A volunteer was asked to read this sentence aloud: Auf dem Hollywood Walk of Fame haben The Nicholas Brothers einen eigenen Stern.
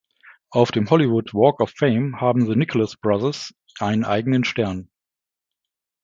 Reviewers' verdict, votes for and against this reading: accepted, 2, 0